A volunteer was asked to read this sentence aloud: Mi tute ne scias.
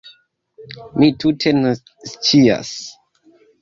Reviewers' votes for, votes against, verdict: 0, 2, rejected